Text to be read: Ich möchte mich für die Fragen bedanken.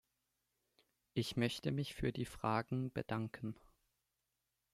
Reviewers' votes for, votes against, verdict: 2, 0, accepted